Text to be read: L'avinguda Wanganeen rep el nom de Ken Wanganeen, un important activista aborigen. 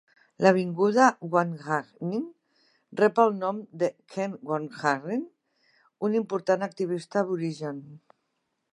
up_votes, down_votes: 3, 0